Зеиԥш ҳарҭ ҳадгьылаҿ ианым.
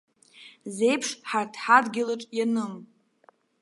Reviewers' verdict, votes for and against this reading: accepted, 2, 0